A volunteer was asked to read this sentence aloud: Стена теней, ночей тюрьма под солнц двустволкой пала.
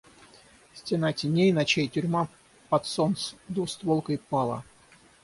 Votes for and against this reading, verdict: 3, 3, rejected